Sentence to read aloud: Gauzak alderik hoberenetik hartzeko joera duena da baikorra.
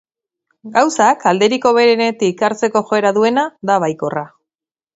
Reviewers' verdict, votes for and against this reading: accepted, 3, 0